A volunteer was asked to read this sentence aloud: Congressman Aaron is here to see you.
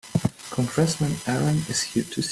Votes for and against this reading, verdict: 1, 2, rejected